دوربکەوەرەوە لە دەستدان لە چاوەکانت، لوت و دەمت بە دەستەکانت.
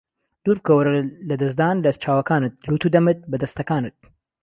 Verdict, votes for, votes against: rejected, 1, 2